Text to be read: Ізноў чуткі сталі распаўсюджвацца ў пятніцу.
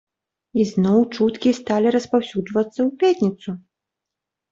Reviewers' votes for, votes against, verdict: 2, 0, accepted